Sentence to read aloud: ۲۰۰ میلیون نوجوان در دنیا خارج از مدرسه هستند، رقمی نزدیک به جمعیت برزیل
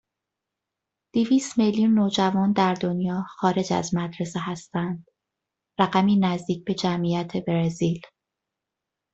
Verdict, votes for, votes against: rejected, 0, 2